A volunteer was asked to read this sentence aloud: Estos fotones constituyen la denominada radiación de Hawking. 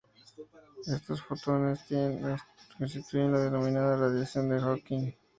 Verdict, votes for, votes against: rejected, 0, 2